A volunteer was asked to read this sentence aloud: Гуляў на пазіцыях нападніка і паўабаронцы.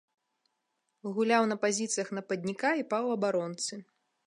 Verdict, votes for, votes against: rejected, 0, 2